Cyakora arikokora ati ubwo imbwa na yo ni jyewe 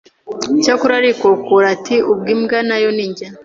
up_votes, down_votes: 0, 2